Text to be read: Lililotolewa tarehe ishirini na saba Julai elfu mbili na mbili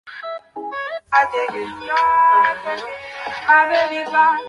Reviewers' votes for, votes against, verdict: 0, 2, rejected